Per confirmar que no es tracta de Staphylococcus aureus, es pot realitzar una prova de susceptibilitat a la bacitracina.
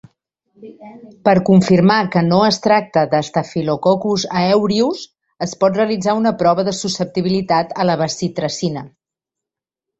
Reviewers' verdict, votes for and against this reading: rejected, 1, 2